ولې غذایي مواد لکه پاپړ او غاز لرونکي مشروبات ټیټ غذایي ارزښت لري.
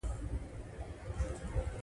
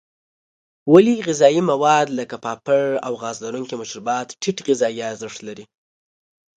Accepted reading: second